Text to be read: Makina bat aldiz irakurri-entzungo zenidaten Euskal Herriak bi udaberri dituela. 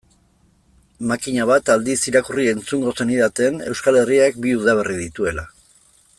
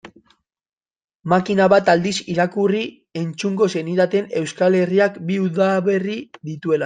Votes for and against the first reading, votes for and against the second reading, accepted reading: 2, 0, 1, 2, first